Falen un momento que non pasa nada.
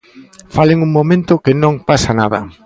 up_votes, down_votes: 0, 2